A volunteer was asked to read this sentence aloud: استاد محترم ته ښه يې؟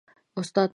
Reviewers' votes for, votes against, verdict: 0, 2, rejected